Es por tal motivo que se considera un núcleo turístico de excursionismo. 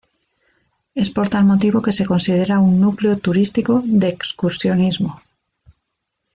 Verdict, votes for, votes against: rejected, 1, 2